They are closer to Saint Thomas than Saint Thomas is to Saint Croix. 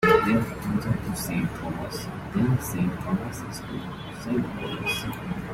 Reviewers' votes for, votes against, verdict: 0, 2, rejected